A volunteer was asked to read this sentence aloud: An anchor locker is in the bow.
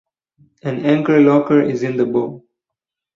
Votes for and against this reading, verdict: 4, 0, accepted